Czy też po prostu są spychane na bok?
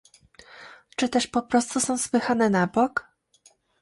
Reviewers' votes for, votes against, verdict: 2, 0, accepted